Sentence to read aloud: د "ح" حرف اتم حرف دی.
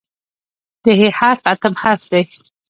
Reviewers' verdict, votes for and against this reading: rejected, 1, 2